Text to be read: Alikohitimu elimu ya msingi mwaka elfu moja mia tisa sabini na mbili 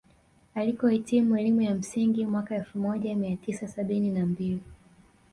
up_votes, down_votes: 2, 1